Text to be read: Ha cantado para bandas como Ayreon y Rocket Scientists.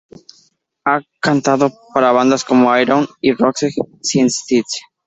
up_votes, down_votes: 0, 2